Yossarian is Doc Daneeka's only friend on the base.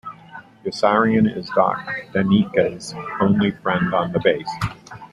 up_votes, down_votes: 2, 1